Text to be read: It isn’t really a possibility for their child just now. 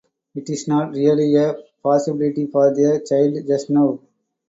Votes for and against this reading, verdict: 2, 2, rejected